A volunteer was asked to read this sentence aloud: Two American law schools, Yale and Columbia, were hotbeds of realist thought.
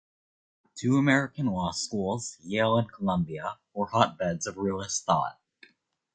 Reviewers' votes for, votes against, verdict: 2, 1, accepted